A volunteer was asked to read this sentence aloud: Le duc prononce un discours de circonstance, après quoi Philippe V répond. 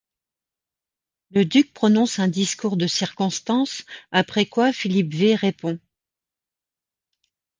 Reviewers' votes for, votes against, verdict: 1, 2, rejected